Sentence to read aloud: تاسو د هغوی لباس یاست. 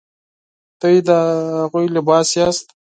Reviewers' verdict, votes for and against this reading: accepted, 4, 2